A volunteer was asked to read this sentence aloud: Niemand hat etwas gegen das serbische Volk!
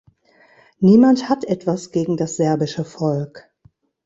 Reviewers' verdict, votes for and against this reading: rejected, 1, 2